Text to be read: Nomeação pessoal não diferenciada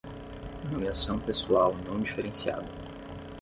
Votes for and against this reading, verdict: 10, 0, accepted